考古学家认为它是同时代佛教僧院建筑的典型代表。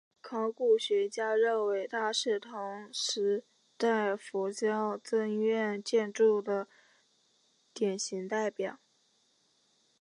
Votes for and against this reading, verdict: 2, 0, accepted